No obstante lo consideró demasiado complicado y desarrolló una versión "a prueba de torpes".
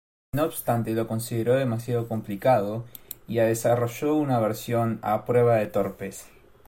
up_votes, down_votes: 0, 2